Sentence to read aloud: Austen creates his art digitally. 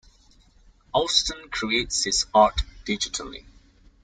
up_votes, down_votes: 2, 0